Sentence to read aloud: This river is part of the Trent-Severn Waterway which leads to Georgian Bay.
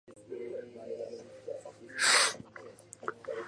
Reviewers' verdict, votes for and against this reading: rejected, 0, 2